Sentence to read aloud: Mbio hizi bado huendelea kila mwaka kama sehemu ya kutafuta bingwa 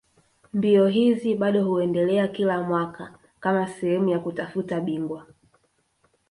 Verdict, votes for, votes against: rejected, 0, 2